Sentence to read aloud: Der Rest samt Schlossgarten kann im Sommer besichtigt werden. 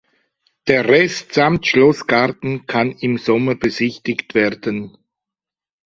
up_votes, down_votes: 2, 0